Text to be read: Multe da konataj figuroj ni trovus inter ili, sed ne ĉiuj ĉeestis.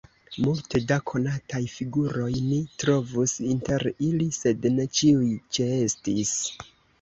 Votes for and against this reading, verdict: 1, 2, rejected